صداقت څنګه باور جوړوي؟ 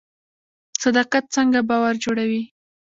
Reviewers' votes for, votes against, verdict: 0, 2, rejected